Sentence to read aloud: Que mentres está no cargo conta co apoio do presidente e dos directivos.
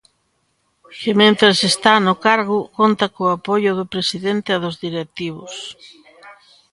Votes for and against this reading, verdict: 1, 2, rejected